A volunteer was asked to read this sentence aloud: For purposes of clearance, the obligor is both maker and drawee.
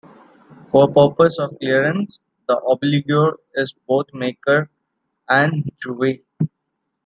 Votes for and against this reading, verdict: 0, 2, rejected